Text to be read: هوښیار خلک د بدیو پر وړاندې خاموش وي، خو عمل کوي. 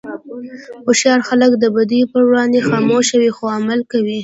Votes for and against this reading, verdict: 2, 0, accepted